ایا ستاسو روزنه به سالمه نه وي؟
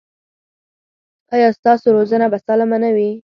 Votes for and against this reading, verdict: 4, 0, accepted